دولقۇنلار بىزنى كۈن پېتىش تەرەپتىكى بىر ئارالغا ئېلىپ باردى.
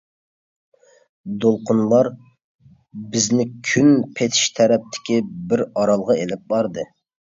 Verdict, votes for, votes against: accepted, 2, 0